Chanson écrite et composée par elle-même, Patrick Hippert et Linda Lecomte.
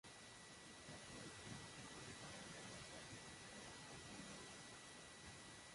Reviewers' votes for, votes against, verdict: 0, 2, rejected